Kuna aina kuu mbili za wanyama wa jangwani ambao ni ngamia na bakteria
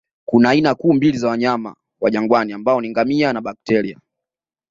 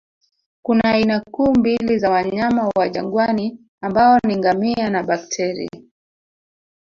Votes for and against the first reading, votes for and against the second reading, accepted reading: 2, 0, 0, 2, first